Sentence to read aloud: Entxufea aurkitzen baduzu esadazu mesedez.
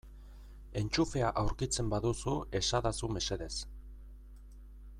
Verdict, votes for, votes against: accepted, 2, 0